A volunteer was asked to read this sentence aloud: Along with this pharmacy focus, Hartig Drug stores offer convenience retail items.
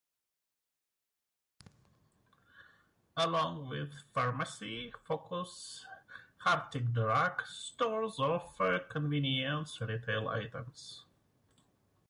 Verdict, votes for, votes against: rejected, 1, 2